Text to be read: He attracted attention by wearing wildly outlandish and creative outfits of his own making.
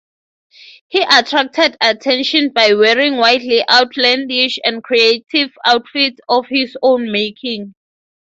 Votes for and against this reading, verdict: 3, 0, accepted